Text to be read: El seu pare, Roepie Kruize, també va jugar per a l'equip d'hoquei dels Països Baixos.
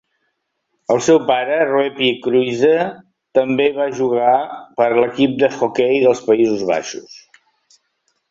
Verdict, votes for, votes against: accepted, 2, 0